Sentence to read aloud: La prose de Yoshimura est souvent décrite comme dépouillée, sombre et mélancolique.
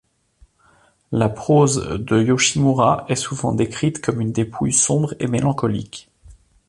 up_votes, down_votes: 0, 2